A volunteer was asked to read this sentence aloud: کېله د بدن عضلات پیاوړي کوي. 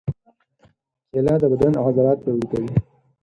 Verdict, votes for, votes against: rejected, 2, 4